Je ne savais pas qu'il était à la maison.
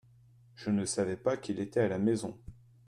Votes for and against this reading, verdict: 2, 0, accepted